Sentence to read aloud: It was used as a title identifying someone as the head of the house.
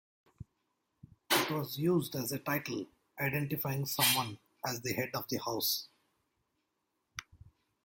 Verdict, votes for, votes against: rejected, 1, 2